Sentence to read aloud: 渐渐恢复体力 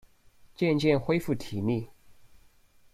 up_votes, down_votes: 2, 0